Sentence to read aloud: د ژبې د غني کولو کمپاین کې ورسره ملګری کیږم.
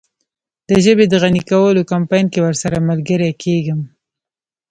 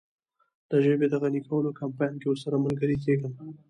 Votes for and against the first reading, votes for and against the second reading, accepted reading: 1, 2, 2, 0, second